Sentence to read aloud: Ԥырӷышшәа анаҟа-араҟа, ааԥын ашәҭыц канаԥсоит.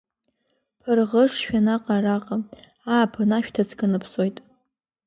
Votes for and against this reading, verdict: 2, 0, accepted